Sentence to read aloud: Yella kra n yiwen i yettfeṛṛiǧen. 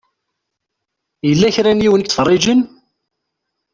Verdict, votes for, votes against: accepted, 2, 0